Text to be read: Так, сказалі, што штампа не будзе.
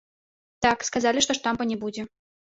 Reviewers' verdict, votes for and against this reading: accepted, 2, 0